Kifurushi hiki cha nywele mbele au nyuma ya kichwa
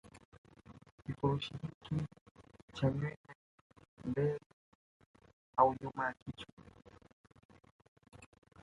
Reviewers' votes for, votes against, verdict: 0, 2, rejected